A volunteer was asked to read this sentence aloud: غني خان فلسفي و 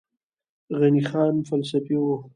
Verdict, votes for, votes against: rejected, 1, 2